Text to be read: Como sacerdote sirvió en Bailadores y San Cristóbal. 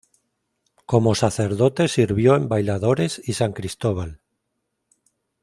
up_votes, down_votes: 2, 0